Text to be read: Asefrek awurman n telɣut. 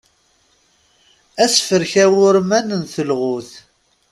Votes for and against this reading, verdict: 3, 0, accepted